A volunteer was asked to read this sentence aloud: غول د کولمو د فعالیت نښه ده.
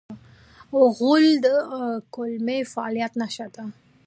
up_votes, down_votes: 0, 2